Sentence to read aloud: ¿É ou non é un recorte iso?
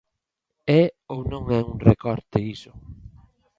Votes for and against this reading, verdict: 2, 0, accepted